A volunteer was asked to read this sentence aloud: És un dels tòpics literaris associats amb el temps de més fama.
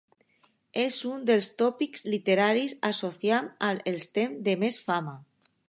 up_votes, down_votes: 0, 2